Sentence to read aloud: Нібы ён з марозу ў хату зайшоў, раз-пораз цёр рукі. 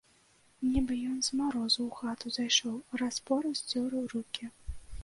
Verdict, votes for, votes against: accepted, 2, 0